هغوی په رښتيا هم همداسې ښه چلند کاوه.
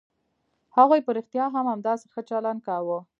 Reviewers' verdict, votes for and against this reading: accepted, 2, 1